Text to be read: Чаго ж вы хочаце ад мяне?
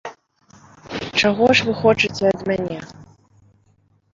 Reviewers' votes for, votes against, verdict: 1, 2, rejected